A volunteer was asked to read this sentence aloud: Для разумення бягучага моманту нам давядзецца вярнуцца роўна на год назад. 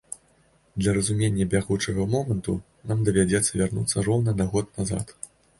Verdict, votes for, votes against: accepted, 2, 0